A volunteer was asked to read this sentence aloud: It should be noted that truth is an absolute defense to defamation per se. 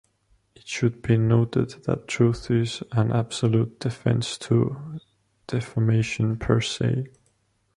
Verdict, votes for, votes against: accepted, 2, 1